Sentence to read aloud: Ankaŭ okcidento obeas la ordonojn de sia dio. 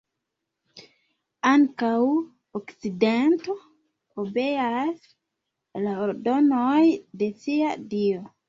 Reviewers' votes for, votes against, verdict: 0, 2, rejected